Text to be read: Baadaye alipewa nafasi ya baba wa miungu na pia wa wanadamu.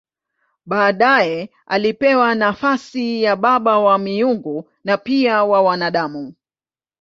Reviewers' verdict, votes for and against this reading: accepted, 2, 0